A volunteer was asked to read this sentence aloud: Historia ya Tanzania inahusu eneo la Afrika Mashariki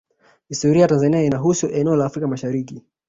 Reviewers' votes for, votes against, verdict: 1, 2, rejected